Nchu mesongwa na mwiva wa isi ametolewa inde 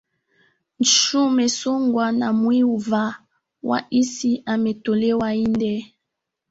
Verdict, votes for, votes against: accepted, 2, 0